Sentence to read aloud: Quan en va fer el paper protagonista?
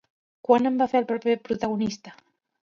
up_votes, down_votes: 0, 2